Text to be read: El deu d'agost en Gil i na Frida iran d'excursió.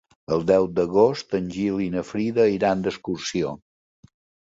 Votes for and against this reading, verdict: 3, 0, accepted